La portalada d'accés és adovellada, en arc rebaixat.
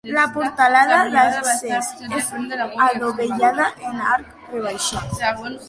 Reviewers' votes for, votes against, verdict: 2, 0, accepted